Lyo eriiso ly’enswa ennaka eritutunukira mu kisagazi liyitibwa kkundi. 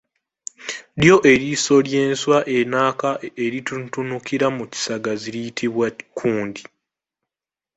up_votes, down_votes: 2, 1